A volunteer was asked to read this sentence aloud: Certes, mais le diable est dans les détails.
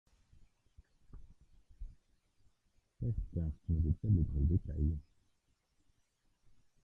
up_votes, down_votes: 0, 2